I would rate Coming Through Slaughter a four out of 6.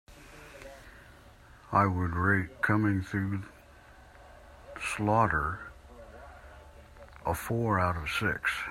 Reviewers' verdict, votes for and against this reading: rejected, 0, 2